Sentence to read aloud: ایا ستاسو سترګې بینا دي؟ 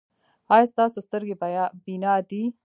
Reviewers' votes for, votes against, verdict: 0, 2, rejected